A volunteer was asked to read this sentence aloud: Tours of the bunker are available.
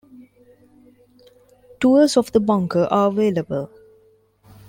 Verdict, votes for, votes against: accepted, 2, 0